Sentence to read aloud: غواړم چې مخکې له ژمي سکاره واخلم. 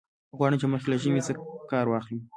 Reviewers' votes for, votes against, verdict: 1, 2, rejected